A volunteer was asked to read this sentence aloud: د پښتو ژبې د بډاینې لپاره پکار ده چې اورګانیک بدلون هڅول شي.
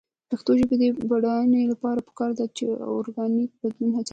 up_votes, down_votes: 0, 2